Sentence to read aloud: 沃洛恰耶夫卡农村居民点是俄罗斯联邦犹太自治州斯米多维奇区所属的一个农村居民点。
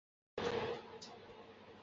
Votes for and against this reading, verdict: 0, 2, rejected